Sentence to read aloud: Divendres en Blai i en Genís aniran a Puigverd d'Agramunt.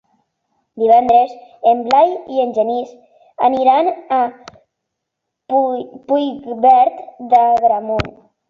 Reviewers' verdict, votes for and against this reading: rejected, 0, 2